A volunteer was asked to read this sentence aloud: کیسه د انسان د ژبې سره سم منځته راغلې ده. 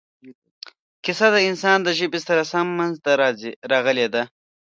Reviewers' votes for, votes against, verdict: 2, 1, accepted